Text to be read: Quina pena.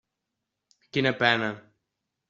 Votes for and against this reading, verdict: 3, 0, accepted